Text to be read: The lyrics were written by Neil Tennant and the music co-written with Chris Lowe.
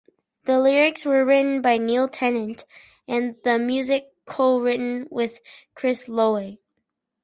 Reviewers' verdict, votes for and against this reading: accepted, 4, 0